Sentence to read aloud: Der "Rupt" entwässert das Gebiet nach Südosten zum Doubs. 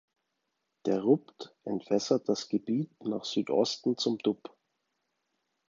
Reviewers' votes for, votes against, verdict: 1, 2, rejected